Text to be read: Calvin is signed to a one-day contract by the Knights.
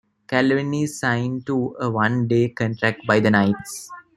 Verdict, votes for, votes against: rejected, 1, 2